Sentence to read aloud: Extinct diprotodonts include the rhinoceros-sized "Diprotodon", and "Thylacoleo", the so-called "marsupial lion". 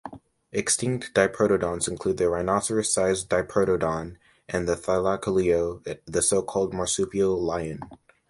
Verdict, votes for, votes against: accepted, 2, 0